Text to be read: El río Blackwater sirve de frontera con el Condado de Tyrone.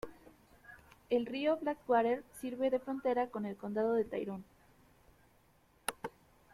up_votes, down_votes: 2, 0